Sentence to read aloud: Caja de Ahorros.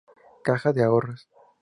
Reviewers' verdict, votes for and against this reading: accepted, 4, 0